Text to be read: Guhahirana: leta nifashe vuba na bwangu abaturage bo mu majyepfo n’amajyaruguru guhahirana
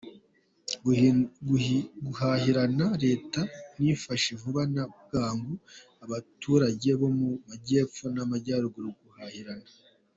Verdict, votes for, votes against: rejected, 0, 2